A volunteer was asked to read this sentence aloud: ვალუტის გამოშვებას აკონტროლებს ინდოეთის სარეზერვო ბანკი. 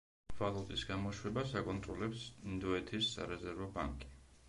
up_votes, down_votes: 1, 2